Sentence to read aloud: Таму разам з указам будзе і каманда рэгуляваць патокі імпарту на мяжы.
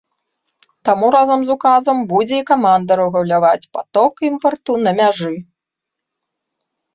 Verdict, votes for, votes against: rejected, 1, 2